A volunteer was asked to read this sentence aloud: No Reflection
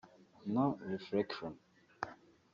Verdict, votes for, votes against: accepted, 2, 1